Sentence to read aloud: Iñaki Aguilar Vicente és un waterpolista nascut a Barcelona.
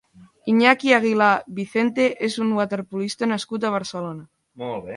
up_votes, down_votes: 0, 3